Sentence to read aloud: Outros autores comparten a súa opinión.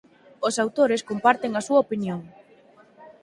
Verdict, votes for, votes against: rejected, 2, 4